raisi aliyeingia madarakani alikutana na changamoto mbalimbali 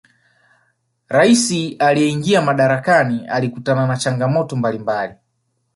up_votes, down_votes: 2, 0